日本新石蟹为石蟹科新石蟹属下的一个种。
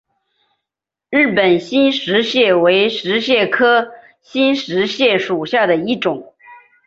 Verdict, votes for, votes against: rejected, 2, 3